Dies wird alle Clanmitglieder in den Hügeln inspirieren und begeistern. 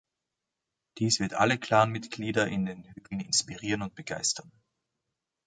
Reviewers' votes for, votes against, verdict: 0, 2, rejected